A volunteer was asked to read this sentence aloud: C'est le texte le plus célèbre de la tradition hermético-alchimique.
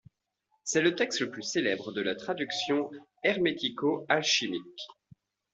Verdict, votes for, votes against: accepted, 2, 0